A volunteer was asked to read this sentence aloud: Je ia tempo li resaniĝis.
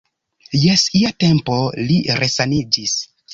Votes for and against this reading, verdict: 0, 2, rejected